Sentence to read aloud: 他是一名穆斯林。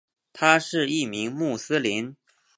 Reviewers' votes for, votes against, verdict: 5, 0, accepted